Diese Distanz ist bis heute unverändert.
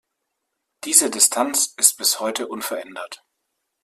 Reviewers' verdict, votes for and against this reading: accepted, 2, 0